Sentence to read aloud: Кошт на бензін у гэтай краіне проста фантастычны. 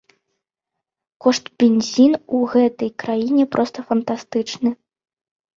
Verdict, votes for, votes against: rejected, 0, 2